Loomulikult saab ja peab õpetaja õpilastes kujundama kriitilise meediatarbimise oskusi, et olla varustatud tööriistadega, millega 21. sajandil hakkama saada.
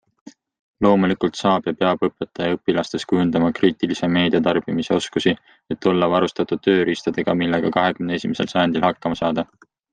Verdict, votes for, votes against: rejected, 0, 2